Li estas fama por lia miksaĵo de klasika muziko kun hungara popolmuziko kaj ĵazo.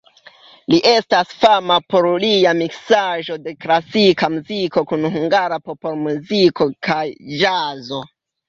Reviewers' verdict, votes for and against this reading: rejected, 1, 2